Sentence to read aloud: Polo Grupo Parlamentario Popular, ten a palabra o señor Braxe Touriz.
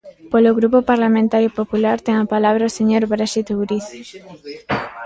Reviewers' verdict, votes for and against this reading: rejected, 1, 2